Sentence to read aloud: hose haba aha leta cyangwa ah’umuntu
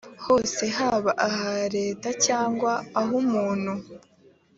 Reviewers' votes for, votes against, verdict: 3, 0, accepted